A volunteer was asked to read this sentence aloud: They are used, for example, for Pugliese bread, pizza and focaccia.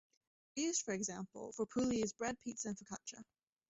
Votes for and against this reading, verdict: 0, 2, rejected